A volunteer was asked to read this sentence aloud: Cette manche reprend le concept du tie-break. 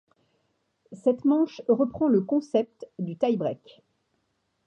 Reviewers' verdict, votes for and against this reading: accepted, 2, 0